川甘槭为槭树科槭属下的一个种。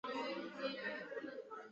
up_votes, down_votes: 0, 3